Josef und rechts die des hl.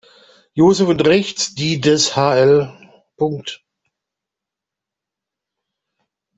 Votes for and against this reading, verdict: 0, 2, rejected